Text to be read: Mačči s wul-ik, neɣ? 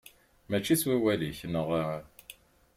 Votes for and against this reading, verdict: 0, 3, rejected